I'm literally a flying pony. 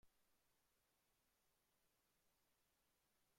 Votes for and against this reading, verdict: 0, 2, rejected